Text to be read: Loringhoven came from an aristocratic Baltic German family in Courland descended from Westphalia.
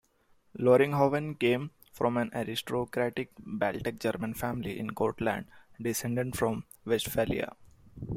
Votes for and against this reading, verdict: 2, 0, accepted